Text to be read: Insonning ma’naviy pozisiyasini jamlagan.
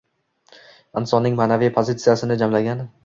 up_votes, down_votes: 2, 0